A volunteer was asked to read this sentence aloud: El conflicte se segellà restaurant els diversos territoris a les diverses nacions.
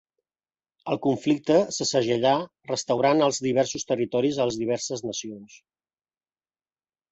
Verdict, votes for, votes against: accepted, 2, 0